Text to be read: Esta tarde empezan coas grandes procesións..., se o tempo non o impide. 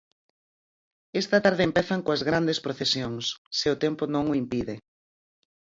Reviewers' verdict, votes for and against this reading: accepted, 4, 0